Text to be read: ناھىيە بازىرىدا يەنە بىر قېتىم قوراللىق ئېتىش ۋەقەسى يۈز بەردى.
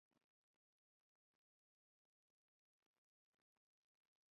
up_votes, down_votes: 0, 2